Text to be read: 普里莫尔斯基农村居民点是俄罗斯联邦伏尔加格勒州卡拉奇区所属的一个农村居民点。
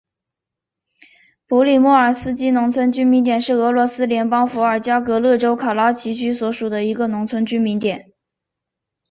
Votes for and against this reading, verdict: 2, 1, accepted